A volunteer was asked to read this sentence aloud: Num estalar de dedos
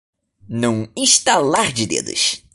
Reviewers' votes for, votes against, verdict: 1, 2, rejected